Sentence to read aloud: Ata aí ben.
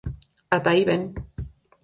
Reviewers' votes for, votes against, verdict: 4, 0, accepted